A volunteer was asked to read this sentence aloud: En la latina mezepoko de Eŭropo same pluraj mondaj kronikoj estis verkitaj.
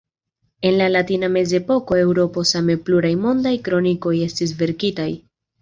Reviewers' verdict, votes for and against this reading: accepted, 2, 0